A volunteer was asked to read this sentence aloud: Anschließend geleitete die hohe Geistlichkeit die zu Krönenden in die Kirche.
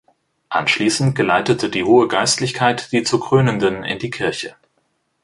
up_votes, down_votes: 2, 0